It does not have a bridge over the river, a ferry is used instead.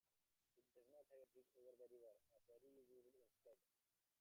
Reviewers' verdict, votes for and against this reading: rejected, 0, 2